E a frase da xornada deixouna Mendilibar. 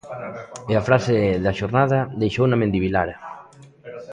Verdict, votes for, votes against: rejected, 1, 2